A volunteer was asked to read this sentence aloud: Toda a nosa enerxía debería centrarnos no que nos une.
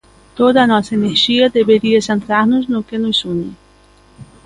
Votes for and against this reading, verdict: 3, 0, accepted